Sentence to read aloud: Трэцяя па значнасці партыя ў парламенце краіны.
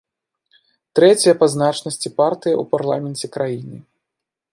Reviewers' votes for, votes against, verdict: 2, 0, accepted